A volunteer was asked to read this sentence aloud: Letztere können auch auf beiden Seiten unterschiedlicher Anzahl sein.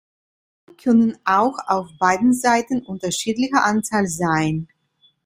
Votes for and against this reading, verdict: 0, 2, rejected